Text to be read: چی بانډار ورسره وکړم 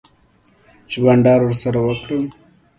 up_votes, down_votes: 2, 0